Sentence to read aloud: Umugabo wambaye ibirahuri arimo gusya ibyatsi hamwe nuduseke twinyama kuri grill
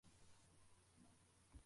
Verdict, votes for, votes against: rejected, 0, 2